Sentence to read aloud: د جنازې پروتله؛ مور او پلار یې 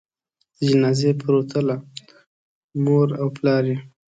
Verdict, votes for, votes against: rejected, 1, 2